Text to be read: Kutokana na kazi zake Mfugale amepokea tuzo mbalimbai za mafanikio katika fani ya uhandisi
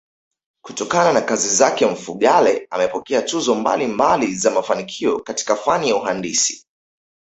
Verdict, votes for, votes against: accepted, 2, 0